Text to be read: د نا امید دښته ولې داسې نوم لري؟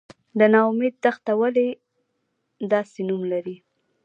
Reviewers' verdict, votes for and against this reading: rejected, 1, 2